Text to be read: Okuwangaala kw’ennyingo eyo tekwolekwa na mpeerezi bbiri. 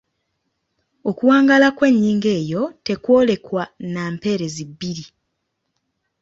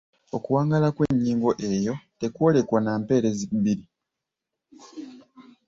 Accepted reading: first